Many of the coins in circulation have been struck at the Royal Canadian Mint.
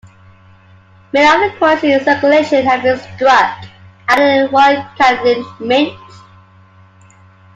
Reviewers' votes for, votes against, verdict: 1, 2, rejected